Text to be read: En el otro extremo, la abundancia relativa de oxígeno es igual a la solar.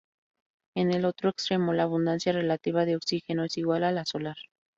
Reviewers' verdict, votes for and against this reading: rejected, 0, 2